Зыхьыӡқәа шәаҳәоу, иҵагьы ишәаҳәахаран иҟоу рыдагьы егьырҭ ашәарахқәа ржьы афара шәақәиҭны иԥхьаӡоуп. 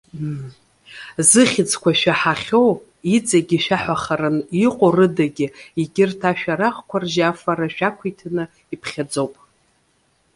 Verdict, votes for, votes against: rejected, 1, 3